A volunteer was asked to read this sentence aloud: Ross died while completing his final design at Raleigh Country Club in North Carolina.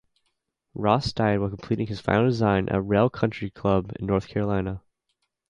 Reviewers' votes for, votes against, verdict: 0, 2, rejected